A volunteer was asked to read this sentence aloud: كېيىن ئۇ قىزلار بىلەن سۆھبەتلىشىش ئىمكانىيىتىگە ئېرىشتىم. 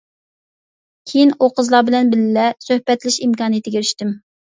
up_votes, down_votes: 0, 2